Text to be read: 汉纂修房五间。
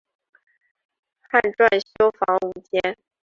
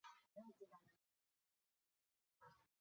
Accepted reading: first